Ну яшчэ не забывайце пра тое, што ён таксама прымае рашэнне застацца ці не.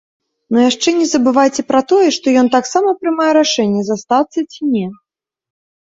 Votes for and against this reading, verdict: 2, 0, accepted